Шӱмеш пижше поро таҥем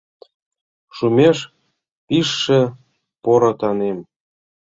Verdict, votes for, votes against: rejected, 1, 2